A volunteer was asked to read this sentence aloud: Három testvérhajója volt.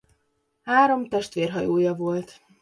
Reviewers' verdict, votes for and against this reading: accepted, 2, 1